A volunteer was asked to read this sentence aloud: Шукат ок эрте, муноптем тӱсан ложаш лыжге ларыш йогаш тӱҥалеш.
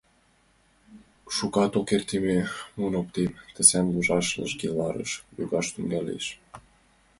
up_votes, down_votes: 0, 2